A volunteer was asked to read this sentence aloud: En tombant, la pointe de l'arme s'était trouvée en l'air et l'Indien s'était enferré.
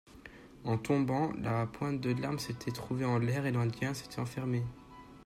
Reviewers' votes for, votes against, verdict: 0, 2, rejected